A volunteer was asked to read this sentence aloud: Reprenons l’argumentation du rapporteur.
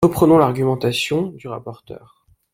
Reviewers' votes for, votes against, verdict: 1, 2, rejected